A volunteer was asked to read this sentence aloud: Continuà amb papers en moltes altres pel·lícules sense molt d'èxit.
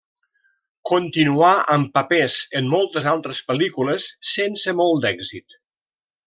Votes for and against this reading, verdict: 2, 0, accepted